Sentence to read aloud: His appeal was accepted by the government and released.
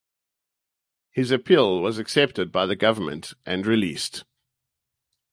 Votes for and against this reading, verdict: 4, 0, accepted